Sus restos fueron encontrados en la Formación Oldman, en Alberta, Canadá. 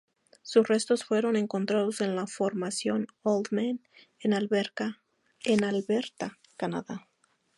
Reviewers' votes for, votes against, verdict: 0, 2, rejected